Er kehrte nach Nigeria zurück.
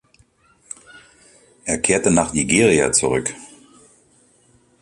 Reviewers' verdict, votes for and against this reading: accepted, 2, 0